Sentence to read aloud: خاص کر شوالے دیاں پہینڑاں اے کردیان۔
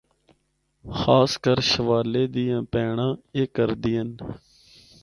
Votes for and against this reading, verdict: 4, 0, accepted